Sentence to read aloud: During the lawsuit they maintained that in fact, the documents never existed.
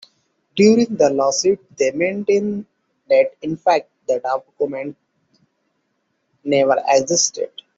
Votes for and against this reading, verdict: 1, 2, rejected